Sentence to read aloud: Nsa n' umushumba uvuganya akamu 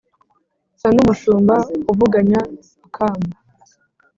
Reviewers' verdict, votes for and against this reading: accepted, 4, 0